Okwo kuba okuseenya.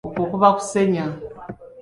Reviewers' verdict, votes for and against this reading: accepted, 2, 0